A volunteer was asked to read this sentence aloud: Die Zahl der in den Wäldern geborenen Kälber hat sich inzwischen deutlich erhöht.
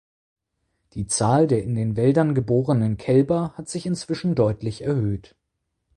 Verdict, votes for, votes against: accepted, 4, 0